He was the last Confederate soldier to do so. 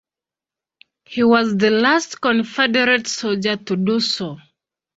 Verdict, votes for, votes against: accepted, 2, 0